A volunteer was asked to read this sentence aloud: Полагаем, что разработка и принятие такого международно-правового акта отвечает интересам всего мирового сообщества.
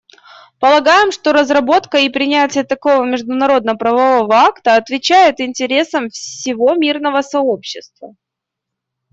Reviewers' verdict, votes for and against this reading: rejected, 1, 2